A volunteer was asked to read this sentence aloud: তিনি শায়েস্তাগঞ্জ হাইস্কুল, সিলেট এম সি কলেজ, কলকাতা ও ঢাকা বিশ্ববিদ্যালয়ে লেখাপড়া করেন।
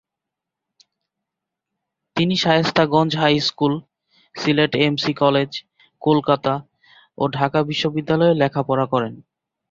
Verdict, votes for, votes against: accepted, 2, 0